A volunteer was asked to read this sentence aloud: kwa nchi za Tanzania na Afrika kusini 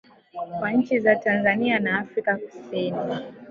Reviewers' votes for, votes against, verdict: 2, 0, accepted